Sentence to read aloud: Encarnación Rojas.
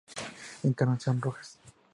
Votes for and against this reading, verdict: 2, 0, accepted